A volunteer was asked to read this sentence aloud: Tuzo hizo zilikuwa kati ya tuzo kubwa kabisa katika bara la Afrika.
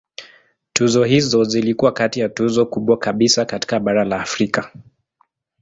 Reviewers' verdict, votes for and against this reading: accepted, 2, 0